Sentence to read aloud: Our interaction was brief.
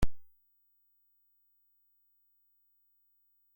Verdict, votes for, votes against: rejected, 0, 2